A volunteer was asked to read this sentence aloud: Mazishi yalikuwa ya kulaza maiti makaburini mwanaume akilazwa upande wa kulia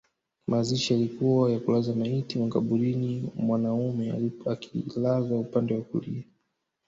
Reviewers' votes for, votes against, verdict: 1, 2, rejected